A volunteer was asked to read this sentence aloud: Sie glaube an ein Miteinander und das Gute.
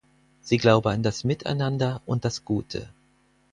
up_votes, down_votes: 0, 4